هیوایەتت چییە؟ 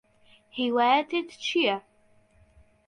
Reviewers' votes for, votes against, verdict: 2, 0, accepted